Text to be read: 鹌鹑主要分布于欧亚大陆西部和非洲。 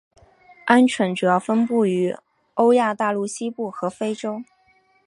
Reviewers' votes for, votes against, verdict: 4, 0, accepted